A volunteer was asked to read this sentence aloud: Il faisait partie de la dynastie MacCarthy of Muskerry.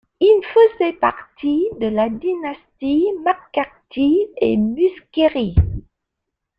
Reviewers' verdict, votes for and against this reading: rejected, 1, 2